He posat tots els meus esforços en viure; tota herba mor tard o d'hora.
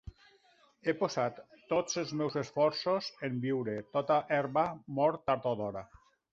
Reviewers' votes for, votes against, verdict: 3, 0, accepted